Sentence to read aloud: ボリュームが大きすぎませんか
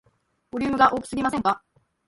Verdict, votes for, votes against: rejected, 0, 2